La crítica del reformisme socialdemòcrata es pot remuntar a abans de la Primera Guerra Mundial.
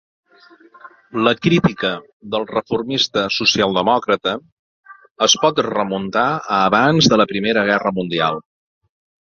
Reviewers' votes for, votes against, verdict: 1, 2, rejected